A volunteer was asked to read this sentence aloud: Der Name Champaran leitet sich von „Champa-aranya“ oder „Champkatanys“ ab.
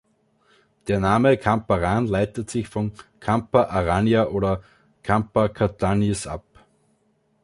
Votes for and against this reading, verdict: 1, 2, rejected